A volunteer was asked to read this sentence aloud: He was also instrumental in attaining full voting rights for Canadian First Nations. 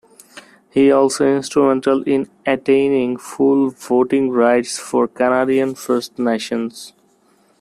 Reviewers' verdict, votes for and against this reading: rejected, 0, 2